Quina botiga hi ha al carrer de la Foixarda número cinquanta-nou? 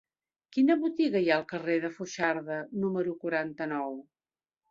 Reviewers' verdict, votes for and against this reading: rejected, 1, 2